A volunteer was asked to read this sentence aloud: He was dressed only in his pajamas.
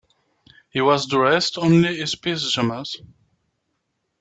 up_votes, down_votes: 0, 2